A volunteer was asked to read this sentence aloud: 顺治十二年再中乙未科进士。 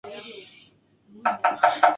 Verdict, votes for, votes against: rejected, 0, 2